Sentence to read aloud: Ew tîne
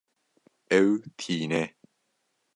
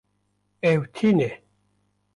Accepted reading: first